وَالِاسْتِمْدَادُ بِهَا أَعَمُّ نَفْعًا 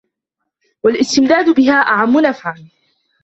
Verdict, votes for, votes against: accepted, 2, 1